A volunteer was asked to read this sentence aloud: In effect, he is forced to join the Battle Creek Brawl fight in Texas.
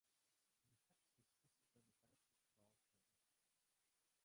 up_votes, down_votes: 0, 2